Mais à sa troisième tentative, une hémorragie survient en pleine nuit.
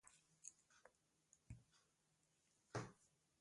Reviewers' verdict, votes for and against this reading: rejected, 0, 2